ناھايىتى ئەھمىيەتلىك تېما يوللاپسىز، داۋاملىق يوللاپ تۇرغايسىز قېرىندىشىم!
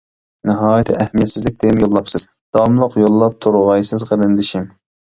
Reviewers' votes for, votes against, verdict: 0, 2, rejected